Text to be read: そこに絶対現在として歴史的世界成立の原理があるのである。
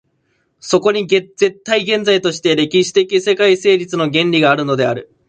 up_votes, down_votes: 0, 2